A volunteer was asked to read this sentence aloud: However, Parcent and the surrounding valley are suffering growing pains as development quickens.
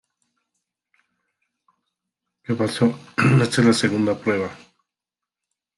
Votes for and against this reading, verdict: 0, 2, rejected